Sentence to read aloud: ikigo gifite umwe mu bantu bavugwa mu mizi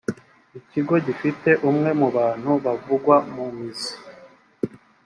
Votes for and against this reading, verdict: 2, 0, accepted